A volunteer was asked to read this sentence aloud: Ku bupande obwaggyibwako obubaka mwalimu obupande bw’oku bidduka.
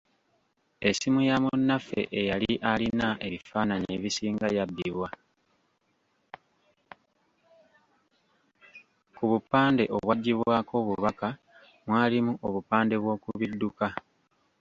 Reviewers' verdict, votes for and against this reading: rejected, 0, 2